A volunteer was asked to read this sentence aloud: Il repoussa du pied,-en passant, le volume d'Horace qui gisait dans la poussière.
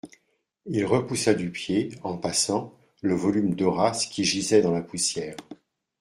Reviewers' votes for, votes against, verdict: 2, 0, accepted